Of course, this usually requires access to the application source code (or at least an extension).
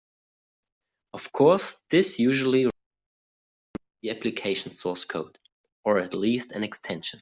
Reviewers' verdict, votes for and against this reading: rejected, 0, 3